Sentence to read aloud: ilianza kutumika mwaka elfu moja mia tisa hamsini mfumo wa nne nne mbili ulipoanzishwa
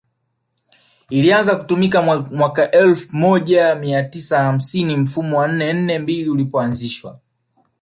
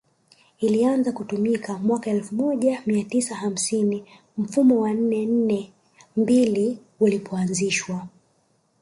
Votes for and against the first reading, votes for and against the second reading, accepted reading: 2, 0, 1, 2, first